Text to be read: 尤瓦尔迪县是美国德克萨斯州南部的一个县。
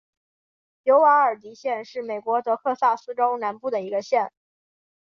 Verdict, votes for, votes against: accepted, 4, 0